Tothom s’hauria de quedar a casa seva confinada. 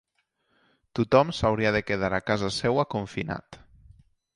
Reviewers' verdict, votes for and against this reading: rejected, 1, 2